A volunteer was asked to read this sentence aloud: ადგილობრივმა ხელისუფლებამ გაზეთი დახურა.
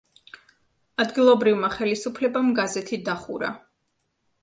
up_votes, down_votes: 2, 0